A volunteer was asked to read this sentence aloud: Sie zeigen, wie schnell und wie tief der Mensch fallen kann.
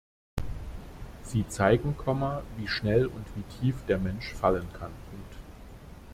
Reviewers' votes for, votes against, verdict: 0, 2, rejected